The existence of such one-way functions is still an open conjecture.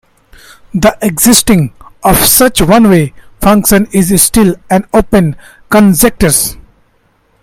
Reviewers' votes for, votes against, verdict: 0, 2, rejected